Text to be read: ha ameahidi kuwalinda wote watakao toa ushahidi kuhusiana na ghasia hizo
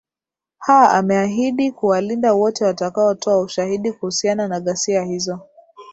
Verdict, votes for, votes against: accepted, 14, 2